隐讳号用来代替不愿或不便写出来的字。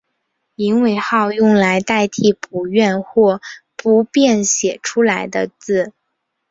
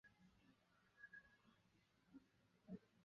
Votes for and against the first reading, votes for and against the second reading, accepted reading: 2, 0, 0, 3, first